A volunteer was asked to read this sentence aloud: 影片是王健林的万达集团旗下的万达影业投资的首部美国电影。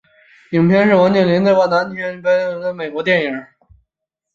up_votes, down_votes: 3, 4